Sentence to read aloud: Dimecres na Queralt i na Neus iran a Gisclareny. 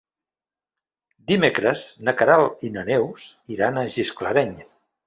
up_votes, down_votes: 2, 0